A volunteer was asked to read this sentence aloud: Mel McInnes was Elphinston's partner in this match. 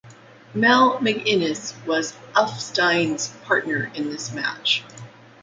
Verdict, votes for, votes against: rejected, 1, 2